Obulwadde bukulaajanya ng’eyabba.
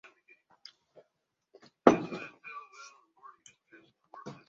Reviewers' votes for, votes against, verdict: 0, 2, rejected